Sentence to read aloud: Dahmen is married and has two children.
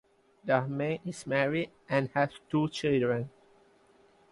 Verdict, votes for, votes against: accepted, 2, 0